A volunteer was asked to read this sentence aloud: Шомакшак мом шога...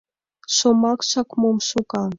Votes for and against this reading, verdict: 2, 0, accepted